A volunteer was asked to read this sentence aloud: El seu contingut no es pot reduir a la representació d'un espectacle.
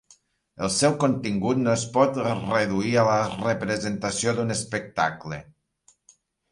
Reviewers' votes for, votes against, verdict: 1, 2, rejected